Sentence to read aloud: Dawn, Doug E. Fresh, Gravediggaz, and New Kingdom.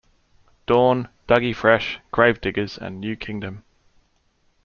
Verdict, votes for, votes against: accepted, 2, 0